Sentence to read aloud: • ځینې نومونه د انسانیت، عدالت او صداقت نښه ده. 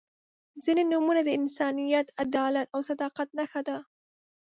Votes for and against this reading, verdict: 2, 0, accepted